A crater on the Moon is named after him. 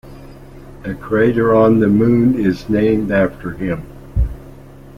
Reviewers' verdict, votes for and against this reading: accepted, 3, 0